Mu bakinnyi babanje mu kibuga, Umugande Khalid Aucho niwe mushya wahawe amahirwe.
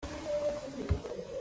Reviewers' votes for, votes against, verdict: 0, 2, rejected